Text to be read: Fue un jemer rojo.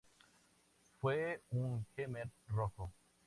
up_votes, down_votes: 2, 0